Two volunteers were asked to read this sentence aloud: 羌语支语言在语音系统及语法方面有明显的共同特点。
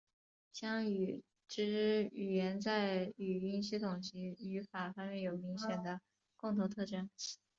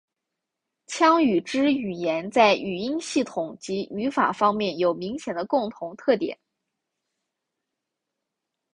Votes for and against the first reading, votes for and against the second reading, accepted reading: 0, 3, 4, 0, second